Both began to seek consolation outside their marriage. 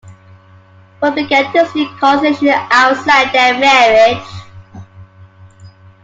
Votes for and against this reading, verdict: 0, 2, rejected